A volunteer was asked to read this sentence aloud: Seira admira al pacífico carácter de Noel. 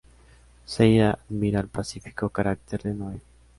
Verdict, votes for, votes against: rejected, 0, 2